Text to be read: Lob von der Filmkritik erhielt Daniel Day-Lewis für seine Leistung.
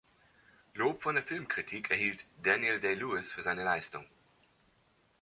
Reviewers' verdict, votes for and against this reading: accepted, 2, 0